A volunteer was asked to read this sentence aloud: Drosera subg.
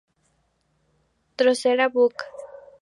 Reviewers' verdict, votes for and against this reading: rejected, 2, 2